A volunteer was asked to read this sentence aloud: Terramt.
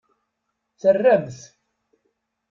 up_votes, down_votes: 2, 0